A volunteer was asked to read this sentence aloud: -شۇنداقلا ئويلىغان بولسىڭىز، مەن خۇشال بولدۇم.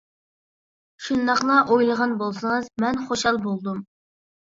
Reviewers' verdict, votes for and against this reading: accepted, 3, 0